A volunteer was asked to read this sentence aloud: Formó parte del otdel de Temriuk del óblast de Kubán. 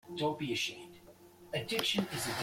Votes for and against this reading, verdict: 0, 2, rejected